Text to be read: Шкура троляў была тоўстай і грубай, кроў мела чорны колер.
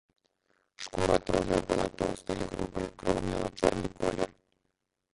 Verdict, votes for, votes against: rejected, 1, 2